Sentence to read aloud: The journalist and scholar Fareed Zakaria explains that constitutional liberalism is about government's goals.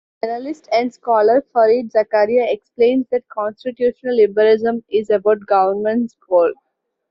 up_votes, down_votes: 2, 0